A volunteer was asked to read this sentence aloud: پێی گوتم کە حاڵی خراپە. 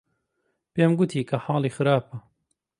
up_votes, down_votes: 1, 2